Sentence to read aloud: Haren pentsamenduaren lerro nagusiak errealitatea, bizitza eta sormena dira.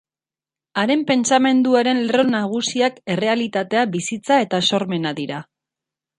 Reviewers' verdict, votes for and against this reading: rejected, 0, 4